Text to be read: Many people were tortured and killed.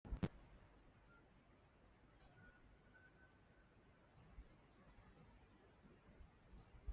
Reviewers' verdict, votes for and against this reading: rejected, 0, 2